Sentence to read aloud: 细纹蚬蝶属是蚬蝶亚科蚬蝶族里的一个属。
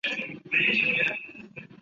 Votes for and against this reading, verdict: 1, 2, rejected